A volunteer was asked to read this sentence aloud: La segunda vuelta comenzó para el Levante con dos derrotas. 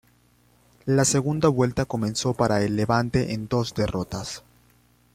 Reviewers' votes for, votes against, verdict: 1, 2, rejected